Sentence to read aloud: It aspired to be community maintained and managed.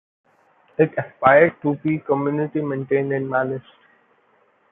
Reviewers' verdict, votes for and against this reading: accepted, 2, 0